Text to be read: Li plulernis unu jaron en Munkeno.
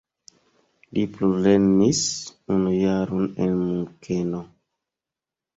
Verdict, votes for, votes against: accepted, 2, 0